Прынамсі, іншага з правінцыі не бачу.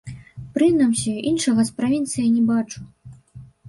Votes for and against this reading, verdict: 2, 1, accepted